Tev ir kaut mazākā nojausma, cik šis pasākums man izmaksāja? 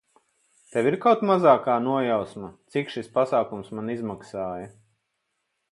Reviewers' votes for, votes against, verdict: 4, 0, accepted